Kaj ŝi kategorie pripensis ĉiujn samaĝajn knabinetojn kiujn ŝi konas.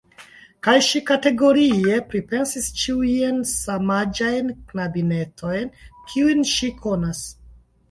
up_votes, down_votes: 2, 1